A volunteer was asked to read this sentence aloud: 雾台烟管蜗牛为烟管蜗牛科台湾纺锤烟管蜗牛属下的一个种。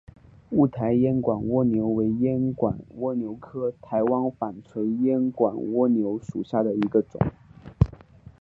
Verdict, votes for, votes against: accepted, 4, 0